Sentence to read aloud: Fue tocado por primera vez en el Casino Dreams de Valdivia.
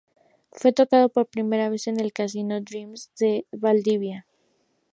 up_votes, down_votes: 2, 2